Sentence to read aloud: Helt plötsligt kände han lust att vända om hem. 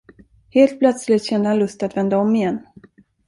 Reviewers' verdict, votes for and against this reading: rejected, 1, 2